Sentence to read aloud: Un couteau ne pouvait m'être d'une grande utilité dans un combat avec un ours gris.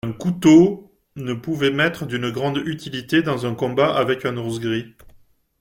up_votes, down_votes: 2, 0